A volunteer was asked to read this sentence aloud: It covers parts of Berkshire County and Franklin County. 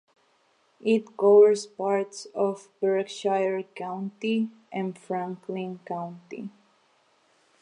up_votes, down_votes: 1, 2